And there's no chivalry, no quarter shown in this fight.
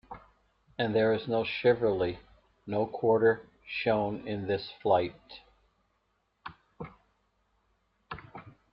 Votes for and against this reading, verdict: 1, 2, rejected